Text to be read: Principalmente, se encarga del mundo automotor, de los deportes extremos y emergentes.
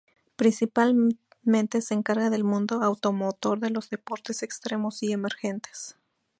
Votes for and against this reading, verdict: 2, 0, accepted